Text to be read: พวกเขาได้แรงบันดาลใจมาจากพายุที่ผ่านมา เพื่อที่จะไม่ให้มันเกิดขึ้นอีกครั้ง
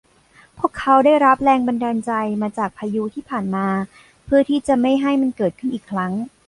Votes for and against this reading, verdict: 0, 2, rejected